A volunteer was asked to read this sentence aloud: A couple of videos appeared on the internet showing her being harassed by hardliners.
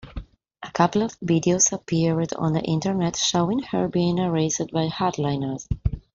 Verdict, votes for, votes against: accepted, 2, 1